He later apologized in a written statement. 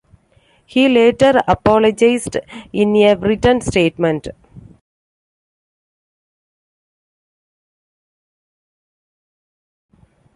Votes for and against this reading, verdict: 2, 1, accepted